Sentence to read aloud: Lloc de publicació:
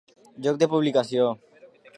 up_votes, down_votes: 2, 0